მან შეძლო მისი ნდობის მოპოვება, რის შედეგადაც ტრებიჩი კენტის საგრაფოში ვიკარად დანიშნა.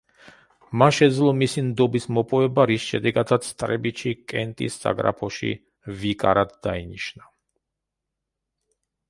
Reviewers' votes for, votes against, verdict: 0, 2, rejected